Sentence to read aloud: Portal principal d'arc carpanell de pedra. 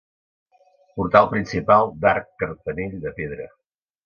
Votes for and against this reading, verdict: 2, 0, accepted